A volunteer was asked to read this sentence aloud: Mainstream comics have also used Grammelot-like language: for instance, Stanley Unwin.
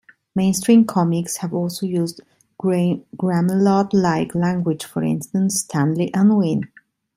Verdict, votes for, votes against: rejected, 2, 3